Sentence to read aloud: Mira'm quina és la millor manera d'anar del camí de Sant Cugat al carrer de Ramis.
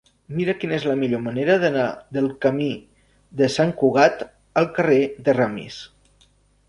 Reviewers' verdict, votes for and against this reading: rejected, 0, 2